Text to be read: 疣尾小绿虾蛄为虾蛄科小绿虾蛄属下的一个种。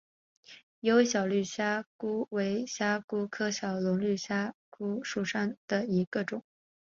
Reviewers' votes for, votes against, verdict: 5, 2, accepted